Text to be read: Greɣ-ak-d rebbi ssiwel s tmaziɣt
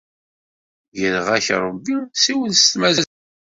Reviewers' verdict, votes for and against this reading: rejected, 1, 3